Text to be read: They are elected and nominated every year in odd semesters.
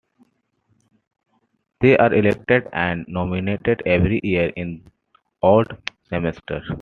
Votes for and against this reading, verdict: 2, 0, accepted